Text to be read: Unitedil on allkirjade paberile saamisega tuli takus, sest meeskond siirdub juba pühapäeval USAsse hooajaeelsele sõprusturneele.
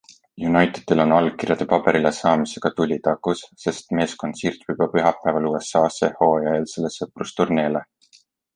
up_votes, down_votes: 2, 0